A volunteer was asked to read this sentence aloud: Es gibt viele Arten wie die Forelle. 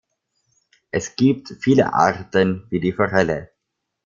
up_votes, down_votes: 1, 2